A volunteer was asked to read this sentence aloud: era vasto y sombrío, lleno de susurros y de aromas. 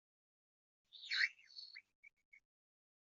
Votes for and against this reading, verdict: 0, 2, rejected